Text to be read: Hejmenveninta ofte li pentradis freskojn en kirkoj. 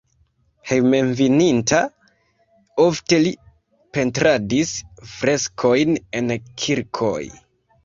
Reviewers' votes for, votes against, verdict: 0, 2, rejected